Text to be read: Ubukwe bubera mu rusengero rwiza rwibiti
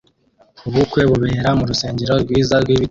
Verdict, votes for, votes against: accepted, 2, 1